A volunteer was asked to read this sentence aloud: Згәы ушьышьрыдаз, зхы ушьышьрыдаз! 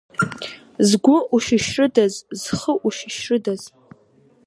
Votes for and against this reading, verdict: 2, 0, accepted